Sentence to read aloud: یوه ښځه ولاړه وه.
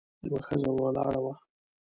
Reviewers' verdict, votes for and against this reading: rejected, 1, 2